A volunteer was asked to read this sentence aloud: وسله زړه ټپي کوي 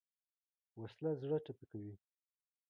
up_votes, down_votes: 2, 0